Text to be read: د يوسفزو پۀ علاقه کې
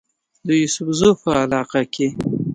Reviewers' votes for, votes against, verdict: 1, 2, rejected